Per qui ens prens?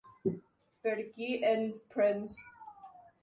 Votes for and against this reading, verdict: 3, 1, accepted